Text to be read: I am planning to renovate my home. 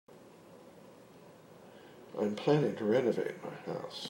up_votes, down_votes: 1, 2